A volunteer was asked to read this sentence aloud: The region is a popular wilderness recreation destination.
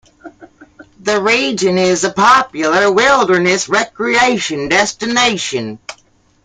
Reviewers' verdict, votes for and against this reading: accepted, 2, 1